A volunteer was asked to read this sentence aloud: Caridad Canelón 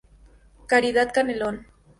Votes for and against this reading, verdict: 2, 0, accepted